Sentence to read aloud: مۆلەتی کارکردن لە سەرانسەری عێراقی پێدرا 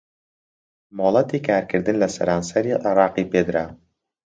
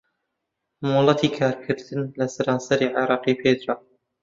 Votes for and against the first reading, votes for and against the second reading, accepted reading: 2, 0, 0, 2, first